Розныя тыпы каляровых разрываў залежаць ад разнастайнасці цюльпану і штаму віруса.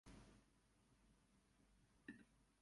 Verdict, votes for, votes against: accepted, 2, 0